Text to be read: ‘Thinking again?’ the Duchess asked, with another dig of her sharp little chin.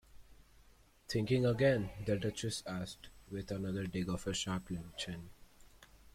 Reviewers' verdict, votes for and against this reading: accepted, 2, 1